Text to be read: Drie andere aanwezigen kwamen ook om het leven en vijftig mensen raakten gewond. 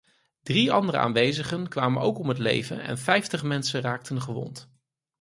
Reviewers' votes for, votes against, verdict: 4, 0, accepted